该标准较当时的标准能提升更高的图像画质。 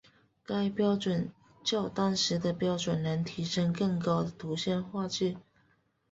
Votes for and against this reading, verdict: 5, 0, accepted